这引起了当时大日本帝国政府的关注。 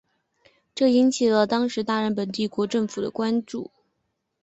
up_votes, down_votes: 2, 0